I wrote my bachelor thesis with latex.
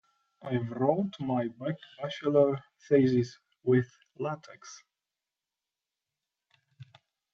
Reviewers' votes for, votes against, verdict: 0, 2, rejected